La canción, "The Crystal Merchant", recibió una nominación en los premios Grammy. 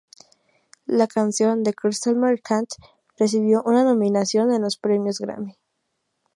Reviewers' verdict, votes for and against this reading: accepted, 4, 0